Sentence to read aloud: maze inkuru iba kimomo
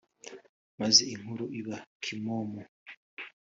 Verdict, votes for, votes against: accepted, 3, 0